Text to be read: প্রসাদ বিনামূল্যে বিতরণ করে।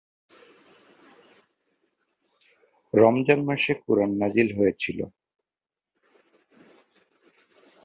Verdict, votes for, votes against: rejected, 1, 4